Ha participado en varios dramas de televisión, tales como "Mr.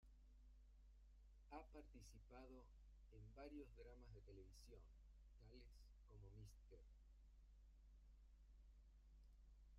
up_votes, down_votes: 0, 2